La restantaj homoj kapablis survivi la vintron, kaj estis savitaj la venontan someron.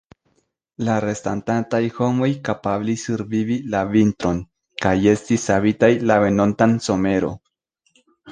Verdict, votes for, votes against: rejected, 1, 2